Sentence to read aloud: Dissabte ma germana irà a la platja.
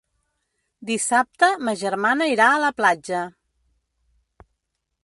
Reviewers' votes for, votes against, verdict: 2, 0, accepted